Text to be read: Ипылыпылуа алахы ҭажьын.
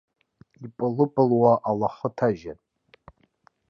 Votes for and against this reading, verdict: 2, 1, accepted